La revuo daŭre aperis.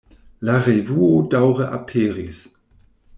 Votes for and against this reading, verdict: 2, 0, accepted